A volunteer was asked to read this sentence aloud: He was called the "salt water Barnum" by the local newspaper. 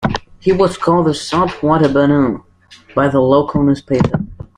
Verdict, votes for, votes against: accepted, 2, 0